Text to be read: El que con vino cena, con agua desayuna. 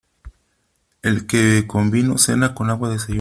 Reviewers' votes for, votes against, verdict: 1, 3, rejected